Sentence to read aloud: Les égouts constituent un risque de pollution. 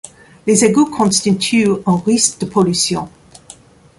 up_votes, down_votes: 1, 2